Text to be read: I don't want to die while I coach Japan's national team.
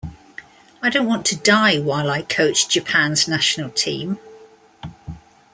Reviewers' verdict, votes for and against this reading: accepted, 2, 0